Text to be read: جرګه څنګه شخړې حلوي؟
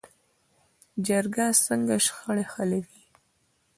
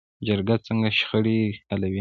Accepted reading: first